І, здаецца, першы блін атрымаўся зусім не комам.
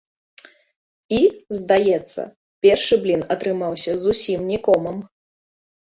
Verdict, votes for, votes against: rejected, 0, 2